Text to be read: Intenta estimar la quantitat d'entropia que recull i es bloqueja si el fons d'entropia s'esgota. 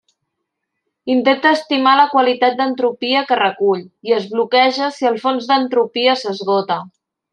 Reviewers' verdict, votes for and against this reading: rejected, 1, 2